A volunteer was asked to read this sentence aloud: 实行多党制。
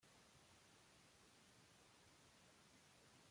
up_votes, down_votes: 0, 2